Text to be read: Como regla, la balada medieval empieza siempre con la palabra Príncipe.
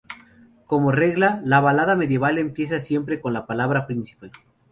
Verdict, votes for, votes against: accepted, 2, 0